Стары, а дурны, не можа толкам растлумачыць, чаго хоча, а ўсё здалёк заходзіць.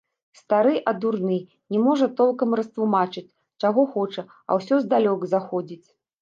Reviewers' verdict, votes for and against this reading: accepted, 2, 0